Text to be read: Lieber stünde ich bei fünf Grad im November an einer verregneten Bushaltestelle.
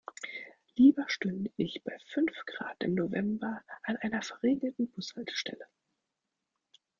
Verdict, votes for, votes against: rejected, 1, 2